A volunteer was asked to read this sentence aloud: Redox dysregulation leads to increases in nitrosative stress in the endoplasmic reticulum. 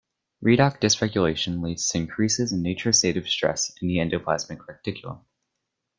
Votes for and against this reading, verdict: 0, 2, rejected